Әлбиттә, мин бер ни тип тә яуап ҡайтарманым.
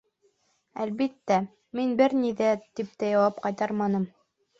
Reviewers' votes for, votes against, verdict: 1, 2, rejected